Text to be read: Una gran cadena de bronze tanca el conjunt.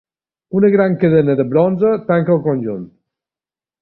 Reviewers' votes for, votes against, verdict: 2, 0, accepted